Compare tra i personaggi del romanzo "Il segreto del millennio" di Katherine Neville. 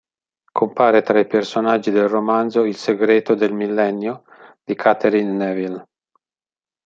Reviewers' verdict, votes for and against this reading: accepted, 2, 1